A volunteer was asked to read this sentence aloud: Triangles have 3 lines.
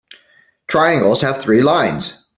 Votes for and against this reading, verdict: 0, 2, rejected